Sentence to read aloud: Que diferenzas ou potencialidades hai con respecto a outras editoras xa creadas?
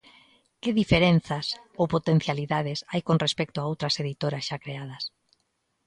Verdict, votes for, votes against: accepted, 2, 0